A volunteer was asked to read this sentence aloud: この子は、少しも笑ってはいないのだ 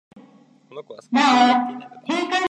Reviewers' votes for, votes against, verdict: 0, 2, rejected